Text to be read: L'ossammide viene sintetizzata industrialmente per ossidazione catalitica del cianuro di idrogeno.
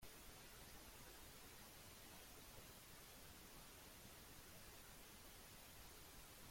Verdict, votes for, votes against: rejected, 0, 4